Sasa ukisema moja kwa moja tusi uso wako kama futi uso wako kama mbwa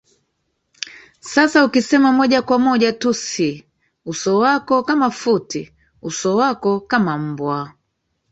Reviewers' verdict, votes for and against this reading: rejected, 1, 2